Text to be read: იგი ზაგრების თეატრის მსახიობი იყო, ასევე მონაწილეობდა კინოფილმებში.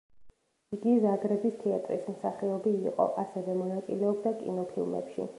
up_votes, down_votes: 2, 0